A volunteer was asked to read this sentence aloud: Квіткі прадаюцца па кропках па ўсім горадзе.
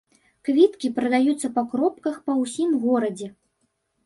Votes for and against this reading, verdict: 1, 2, rejected